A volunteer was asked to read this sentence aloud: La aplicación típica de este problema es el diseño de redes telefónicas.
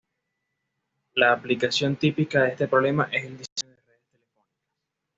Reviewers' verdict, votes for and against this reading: rejected, 1, 2